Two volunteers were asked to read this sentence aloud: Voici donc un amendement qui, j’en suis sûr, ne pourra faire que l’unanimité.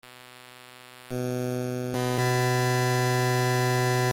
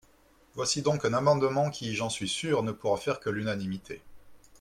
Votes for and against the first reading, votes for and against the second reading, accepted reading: 0, 2, 2, 0, second